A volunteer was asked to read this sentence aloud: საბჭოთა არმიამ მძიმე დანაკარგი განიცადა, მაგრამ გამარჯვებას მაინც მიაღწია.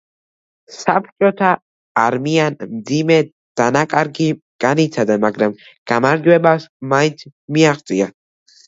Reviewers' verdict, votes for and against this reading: rejected, 0, 2